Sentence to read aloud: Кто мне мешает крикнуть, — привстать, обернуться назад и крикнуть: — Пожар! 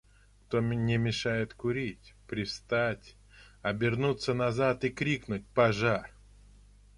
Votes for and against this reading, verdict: 0, 2, rejected